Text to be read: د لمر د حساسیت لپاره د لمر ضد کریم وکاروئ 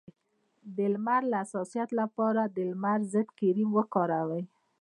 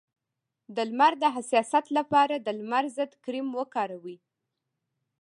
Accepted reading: first